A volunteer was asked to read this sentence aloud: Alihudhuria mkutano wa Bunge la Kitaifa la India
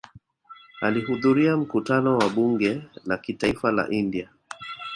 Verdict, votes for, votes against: accepted, 2, 0